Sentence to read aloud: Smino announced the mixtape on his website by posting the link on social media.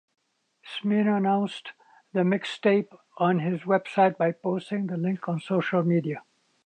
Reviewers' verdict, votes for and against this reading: accepted, 2, 0